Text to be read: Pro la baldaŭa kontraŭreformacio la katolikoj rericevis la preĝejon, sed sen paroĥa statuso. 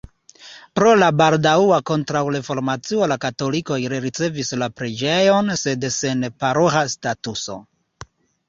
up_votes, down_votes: 2, 0